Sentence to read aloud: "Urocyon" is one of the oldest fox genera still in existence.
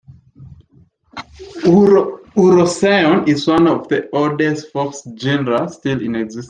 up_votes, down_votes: 1, 3